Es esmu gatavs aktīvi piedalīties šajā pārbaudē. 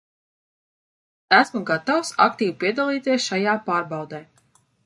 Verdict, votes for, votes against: rejected, 0, 2